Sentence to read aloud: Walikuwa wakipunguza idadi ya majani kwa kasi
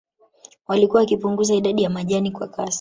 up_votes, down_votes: 1, 2